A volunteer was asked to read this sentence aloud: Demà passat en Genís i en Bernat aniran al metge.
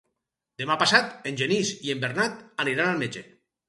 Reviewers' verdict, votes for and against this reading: rejected, 0, 2